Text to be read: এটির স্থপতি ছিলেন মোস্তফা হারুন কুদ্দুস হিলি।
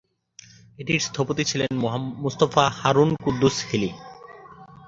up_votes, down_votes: 0, 2